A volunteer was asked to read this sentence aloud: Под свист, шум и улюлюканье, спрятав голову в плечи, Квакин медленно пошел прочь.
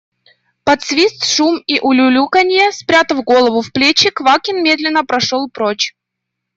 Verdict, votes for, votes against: rejected, 0, 2